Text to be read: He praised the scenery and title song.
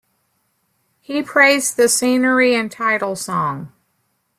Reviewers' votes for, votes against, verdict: 2, 0, accepted